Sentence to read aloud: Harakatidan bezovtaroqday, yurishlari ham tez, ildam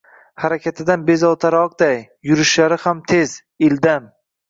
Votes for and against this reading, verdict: 2, 0, accepted